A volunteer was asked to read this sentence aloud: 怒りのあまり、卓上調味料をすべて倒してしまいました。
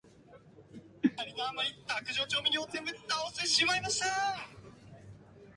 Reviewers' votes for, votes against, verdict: 2, 0, accepted